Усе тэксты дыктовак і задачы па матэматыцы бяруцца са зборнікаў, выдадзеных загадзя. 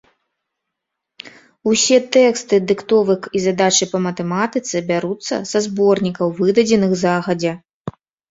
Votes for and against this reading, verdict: 0, 2, rejected